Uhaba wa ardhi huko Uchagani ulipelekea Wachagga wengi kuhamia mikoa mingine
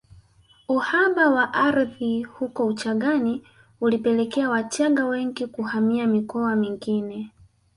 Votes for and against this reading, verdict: 2, 1, accepted